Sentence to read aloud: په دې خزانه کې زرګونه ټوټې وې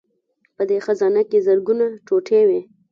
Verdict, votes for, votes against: accepted, 2, 0